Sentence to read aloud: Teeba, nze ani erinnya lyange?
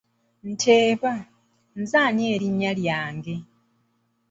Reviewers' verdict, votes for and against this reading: rejected, 0, 2